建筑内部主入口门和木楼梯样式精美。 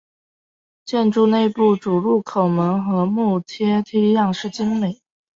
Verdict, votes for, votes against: rejected, 0, 2